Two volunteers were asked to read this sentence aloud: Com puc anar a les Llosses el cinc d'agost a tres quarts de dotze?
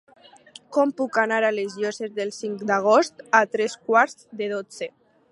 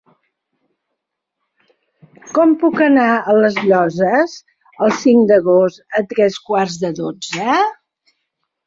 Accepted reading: second